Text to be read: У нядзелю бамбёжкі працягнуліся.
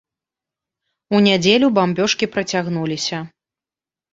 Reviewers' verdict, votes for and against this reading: accepted, 2, 0